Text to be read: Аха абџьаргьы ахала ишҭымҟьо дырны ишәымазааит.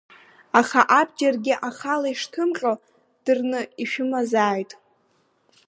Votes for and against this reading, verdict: 1, 2, rejected